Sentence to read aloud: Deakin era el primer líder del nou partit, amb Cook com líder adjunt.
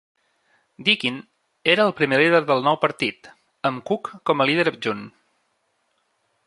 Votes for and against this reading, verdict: 0, 2, rejected